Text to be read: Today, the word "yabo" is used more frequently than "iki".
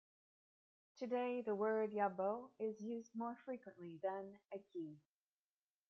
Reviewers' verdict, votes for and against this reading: rejected, 1, 2